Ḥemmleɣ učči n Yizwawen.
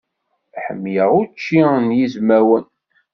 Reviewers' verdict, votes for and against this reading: rejected, 1, 2